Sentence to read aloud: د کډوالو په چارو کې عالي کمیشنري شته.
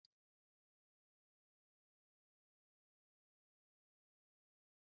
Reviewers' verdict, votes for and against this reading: rejected, 0, 2